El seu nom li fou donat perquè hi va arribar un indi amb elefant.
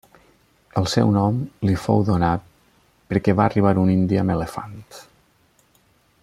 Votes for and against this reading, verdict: 0, 2, rejected